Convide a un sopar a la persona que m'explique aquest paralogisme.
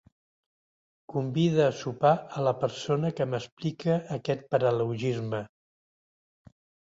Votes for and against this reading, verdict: 1, 2, rejected